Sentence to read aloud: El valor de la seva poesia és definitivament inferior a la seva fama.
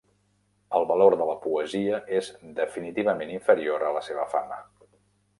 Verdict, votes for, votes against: rejected, 0, 2